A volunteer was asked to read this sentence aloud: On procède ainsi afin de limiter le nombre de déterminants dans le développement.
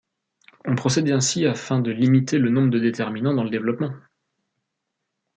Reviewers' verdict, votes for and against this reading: rejected, 1, 2